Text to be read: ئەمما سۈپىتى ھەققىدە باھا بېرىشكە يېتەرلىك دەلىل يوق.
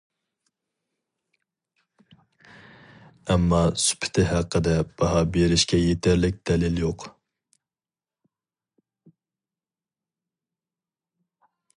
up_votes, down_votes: 2, 0